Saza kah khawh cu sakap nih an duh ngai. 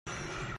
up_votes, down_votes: 0, 2